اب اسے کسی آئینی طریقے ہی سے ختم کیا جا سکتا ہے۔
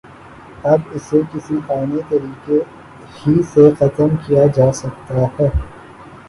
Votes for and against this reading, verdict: 3, 3, rejected